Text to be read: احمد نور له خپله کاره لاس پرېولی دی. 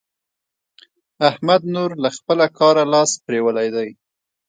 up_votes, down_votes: 2, 1